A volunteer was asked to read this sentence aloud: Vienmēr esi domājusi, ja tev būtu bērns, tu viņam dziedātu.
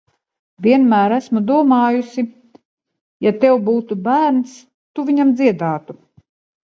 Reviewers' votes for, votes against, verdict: 0, 2, rejected